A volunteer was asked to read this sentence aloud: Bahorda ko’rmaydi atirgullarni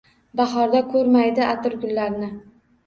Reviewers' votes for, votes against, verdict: 2, 0, accepted